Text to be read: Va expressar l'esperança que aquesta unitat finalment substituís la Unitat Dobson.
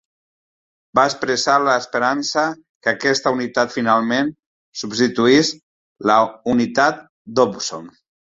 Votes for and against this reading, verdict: 0, 2, rejected